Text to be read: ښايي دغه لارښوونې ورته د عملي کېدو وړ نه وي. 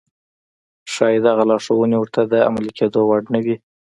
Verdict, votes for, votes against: accepted, 3, 0